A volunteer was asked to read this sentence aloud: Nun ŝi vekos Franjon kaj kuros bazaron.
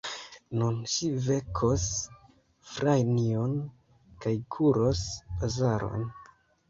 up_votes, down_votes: 0, 2